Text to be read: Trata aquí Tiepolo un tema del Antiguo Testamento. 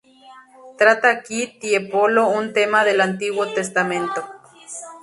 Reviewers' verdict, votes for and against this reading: rejected, 0, 2